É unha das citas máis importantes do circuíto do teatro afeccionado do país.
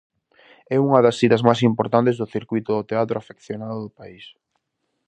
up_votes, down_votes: 0, 2